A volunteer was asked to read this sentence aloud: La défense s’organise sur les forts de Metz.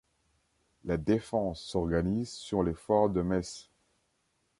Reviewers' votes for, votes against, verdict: 2, 0, accepted